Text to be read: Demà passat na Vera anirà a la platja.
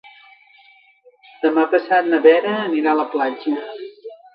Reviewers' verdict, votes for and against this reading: rejected, 0, 2